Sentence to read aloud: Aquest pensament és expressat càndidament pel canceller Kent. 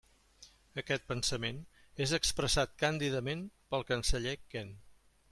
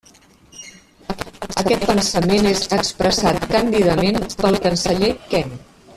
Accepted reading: first